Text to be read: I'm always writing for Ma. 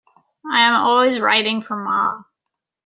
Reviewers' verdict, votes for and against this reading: rejected, 1, 2